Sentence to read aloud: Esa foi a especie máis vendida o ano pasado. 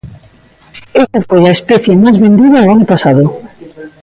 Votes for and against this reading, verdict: 0, 2, rejected